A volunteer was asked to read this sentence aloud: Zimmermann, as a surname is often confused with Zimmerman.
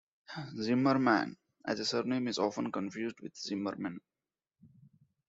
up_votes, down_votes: 0, 2